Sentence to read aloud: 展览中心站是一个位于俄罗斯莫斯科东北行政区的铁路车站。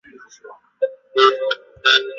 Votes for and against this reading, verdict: 0, 2, rejected